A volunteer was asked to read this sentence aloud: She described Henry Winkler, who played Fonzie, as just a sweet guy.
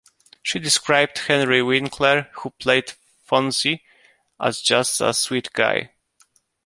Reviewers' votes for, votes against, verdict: 2, 0, accepted